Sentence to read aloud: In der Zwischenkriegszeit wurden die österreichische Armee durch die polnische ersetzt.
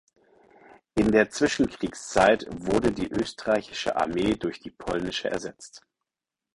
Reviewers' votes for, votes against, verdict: 2, 4, rejected